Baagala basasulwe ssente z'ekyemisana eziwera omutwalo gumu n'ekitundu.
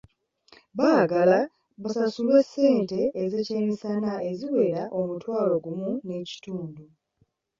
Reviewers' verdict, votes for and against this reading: accepted, 2, 1